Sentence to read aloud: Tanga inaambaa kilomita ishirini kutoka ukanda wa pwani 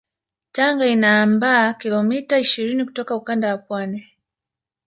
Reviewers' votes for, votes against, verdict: 0, 2, rejected